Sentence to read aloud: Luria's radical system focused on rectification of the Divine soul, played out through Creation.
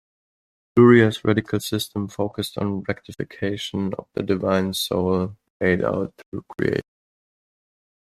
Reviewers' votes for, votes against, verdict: 0, 2, rejected